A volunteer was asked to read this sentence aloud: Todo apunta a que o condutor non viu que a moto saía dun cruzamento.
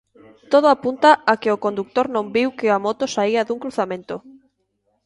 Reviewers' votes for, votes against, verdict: 2, 0, accepted